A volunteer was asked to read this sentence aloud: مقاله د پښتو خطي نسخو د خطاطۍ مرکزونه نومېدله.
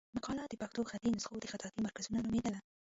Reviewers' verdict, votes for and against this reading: rejected, 1, 2